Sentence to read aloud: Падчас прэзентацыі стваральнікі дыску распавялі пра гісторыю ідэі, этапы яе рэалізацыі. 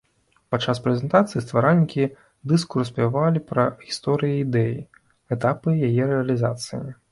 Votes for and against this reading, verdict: 1, 2, rejected